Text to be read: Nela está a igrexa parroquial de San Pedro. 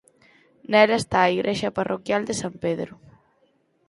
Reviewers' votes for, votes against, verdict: 4, 0, accepted